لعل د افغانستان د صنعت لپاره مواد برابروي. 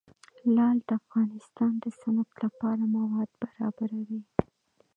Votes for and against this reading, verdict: 2, 1, accepted